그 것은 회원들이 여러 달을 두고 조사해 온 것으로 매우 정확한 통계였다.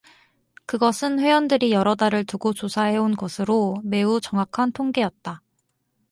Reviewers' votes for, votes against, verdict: 4, 0, accepted